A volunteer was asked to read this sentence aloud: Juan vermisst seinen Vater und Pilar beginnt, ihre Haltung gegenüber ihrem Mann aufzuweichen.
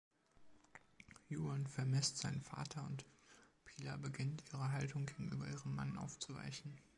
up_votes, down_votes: 2, 0